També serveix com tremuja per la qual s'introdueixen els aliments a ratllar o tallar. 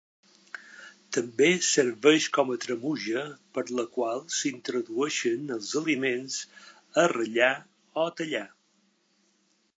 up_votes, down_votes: 1, 2